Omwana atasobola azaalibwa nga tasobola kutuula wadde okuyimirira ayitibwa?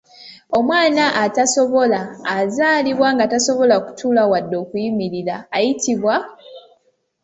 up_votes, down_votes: 2, 0